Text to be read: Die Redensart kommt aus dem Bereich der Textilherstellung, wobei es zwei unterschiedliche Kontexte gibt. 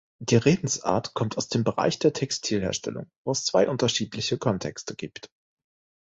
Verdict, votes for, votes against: rejected, 1, 2